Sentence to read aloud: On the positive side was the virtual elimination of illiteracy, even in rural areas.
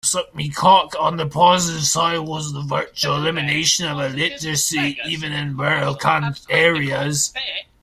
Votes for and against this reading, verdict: 1, 2, rejected